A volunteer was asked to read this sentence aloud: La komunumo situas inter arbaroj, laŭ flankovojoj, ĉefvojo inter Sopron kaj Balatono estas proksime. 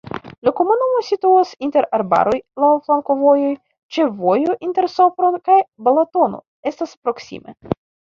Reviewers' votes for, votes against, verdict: 2, 1, accepted